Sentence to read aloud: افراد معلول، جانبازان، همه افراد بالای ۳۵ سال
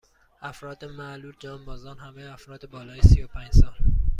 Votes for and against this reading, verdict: 0, 2, rejected